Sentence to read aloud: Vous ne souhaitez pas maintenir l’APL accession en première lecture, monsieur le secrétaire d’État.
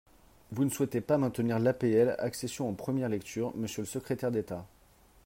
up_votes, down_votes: 3, 0